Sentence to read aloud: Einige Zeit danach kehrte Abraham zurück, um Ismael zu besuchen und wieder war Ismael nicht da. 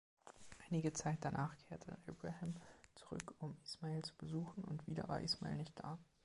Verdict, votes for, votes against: rejected, 1, 2